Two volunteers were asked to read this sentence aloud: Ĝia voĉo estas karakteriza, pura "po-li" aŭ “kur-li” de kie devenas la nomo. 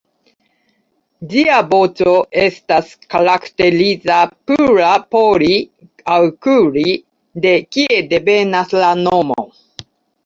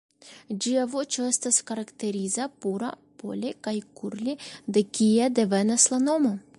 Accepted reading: first